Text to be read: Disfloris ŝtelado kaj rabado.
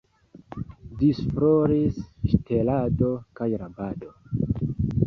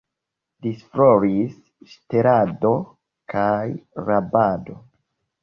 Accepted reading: first